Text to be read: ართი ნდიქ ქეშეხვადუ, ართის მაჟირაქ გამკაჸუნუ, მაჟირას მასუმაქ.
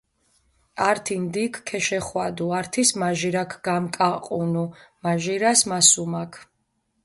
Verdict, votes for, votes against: rejected, 1, 2